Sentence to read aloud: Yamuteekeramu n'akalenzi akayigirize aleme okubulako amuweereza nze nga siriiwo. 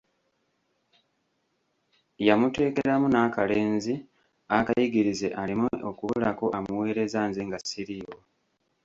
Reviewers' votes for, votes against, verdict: 1, 2, rejected